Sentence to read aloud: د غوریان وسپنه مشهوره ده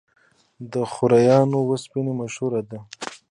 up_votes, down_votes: 0, 2